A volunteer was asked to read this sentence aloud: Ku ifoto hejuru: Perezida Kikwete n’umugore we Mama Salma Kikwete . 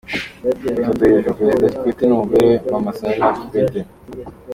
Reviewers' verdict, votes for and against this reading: rejected, 0, 2